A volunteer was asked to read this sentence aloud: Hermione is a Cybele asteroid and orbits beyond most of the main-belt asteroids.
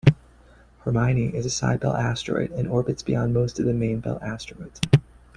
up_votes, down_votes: 2, 1